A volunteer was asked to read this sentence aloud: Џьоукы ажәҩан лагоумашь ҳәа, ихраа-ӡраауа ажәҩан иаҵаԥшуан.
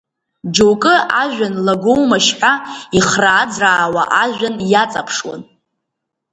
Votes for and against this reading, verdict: 1, 2, rejected